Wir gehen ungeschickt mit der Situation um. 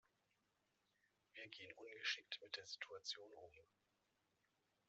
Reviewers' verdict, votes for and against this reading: rejected, 1, 2